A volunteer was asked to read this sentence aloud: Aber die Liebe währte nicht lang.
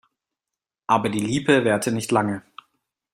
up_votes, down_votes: 2, 1